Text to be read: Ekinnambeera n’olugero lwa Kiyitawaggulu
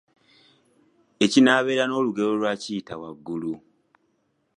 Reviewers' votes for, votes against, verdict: 0, 2, rejected